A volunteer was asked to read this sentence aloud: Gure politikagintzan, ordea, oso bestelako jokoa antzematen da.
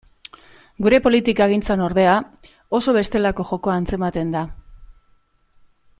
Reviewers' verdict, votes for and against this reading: accepted, 2, 0